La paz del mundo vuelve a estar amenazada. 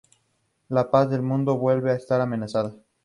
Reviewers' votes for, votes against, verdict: 4, 0, accepted